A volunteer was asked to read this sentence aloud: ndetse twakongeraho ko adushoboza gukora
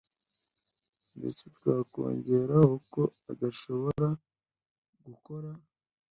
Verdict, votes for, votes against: rejected, 0, 2